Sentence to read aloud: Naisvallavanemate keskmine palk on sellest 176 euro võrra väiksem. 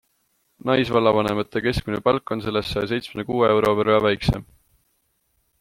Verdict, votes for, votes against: rejected, 0, 2